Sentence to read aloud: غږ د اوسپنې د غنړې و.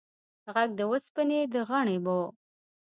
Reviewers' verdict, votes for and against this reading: accepted, 2, 0